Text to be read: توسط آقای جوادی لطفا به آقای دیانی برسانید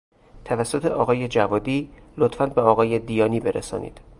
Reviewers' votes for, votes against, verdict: 0, 2, rejected